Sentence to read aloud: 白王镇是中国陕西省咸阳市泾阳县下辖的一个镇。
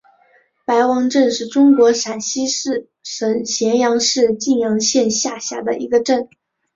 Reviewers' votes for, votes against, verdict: 0, 2, rejected